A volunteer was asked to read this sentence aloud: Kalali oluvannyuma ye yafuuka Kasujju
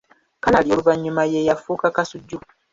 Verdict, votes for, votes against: accepted, 2, 0